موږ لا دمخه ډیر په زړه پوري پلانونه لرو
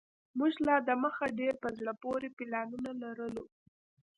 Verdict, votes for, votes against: accepted, 2, 0